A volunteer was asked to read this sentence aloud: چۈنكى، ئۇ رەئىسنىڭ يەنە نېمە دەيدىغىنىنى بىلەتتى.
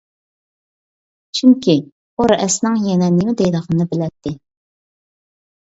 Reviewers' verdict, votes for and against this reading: rejected, 0, 2